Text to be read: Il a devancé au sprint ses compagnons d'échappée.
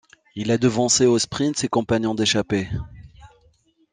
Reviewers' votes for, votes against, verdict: 2, 1, accepted